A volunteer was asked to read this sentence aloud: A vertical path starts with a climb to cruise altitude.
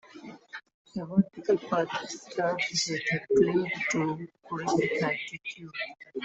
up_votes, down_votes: 0, 2